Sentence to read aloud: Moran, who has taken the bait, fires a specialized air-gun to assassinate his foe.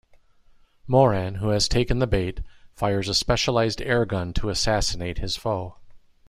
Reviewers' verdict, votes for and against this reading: accepted, 2, 0